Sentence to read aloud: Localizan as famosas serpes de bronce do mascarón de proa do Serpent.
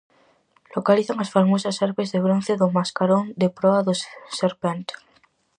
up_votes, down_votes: 0, 4